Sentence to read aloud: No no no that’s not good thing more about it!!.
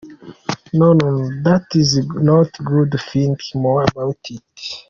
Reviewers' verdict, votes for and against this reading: accepted, 2, 1